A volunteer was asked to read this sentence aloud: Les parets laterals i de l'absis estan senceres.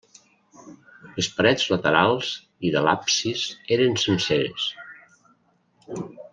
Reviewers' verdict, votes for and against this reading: rejected, 1, 2